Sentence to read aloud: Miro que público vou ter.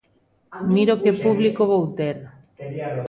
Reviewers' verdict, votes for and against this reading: rejected, 0, 2